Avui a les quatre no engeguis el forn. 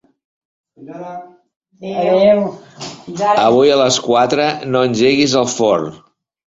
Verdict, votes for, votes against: rejected, 0, 3